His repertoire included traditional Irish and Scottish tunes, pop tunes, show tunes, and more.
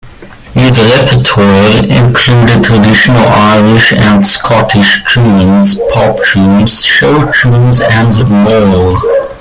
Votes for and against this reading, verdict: 2, 0, accepted